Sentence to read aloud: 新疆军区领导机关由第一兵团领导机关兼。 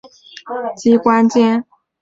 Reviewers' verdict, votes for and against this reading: rejected, 0, 3